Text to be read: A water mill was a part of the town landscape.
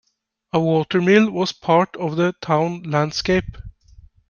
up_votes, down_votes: 2, 1